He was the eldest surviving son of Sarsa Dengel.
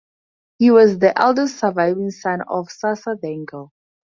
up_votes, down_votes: 4, 0